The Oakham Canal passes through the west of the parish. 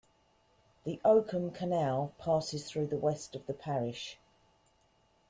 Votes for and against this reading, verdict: 2, 0, accepted